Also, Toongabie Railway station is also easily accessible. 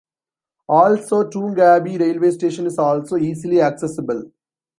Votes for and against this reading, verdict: 2, 0, accepted